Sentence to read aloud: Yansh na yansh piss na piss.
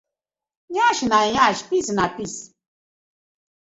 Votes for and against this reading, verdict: 2, 0, accepted